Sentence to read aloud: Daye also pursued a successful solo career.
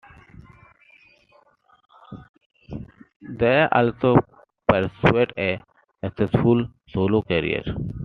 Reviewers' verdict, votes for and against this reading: accepted, 2, 0